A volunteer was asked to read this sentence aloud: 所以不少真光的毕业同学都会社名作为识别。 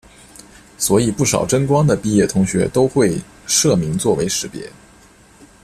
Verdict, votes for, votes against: accepted, 2, 0